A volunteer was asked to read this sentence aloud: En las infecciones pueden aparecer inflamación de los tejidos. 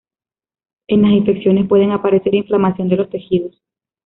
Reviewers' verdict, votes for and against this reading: accepted, 2, 0